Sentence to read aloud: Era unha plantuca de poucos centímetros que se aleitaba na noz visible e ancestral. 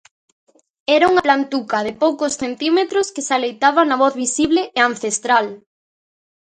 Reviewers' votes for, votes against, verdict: 0, 2, rejected